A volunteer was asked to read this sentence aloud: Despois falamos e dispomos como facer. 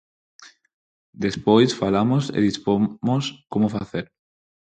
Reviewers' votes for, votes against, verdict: 0, 4, rejected